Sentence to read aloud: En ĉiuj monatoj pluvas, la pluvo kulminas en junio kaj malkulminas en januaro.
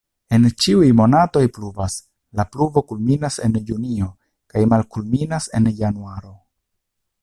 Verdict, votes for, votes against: accepted, 2, 0